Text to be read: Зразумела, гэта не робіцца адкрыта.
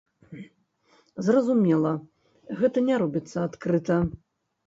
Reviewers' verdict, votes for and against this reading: accepted, 2, 0